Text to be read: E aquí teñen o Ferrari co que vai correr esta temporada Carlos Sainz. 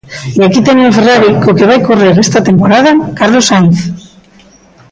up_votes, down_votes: 1, 2